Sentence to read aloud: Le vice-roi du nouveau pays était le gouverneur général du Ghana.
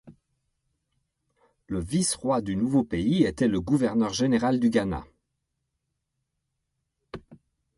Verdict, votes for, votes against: accepted, 2, 0